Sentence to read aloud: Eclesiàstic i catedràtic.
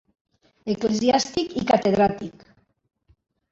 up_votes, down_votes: 0, 2